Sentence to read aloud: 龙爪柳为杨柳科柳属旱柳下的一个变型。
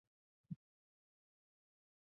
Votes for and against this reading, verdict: 0, 6, rejected